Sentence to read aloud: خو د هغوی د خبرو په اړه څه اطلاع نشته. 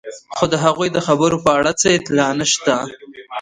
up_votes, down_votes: 2, 0